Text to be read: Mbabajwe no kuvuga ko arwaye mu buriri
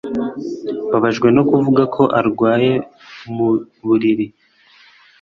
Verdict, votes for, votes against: accepted, 2, 0